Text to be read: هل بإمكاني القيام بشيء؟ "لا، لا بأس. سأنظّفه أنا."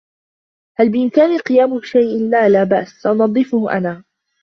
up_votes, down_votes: 2, 0